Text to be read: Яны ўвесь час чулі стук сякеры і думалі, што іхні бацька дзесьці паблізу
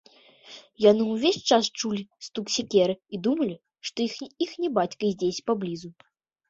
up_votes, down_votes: 1, 2